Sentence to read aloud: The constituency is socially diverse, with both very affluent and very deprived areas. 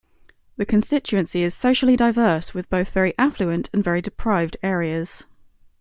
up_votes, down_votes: 2, 0